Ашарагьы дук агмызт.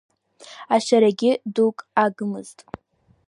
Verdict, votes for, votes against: accepted, 2, 0